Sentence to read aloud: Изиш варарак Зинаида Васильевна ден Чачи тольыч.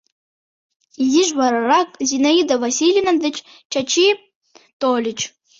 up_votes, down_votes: 1, 2